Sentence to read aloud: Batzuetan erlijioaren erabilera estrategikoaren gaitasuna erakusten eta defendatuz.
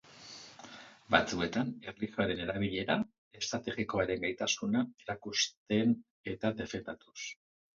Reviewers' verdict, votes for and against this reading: rejected, 2, 2